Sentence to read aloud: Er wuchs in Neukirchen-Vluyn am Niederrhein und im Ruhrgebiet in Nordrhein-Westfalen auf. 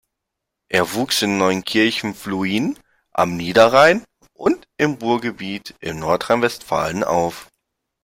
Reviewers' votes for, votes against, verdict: 1, 2, rejected